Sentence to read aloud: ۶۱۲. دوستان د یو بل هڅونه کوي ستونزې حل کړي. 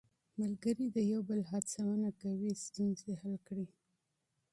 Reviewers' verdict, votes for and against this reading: rejected, 0, 2